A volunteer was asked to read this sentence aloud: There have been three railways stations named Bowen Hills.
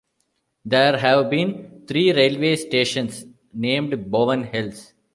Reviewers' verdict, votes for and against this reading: accepted, 2, 1